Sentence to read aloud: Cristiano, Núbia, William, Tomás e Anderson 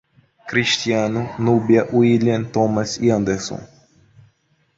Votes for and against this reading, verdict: 0, 2, rejected